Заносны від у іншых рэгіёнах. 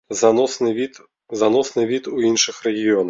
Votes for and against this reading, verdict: 0, 2, rejected